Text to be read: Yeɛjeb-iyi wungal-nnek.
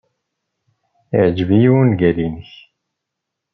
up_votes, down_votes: 2, 0